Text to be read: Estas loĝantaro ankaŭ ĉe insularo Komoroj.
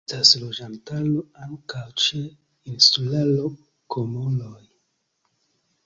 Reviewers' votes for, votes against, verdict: 0, 2, rejected